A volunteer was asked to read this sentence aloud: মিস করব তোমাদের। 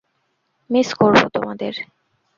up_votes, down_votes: 0, 2